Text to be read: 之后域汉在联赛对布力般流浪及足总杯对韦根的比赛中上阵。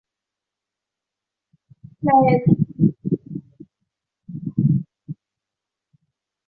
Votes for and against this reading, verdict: 0, 3, rejected